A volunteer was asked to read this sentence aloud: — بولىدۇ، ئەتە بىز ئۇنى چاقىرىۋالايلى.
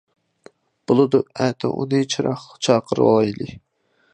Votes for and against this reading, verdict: 0, 2, rejected